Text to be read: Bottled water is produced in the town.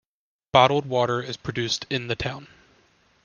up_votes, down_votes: 2, 1